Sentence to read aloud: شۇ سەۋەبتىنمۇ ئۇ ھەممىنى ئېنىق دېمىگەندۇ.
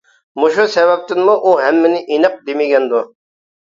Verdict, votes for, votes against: rejected, 1, 2